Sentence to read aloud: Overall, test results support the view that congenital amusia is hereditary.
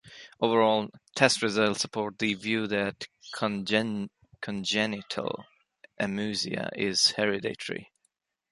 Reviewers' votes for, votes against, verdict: 0, 2, rejected